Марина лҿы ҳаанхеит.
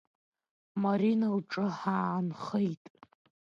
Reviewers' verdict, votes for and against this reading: accepted, 2, 0